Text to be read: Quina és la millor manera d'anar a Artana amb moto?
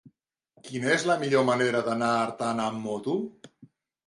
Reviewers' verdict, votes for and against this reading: accepted, 3, 0